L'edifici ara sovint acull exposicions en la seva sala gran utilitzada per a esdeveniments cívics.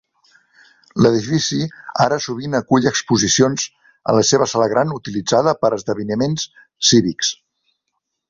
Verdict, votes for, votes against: rejected, 1, 2